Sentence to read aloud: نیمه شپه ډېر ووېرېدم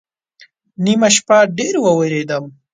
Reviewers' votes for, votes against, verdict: 2, 0, accepted